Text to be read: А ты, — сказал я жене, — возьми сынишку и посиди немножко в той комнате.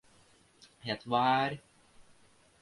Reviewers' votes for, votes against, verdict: 0, 2, rejected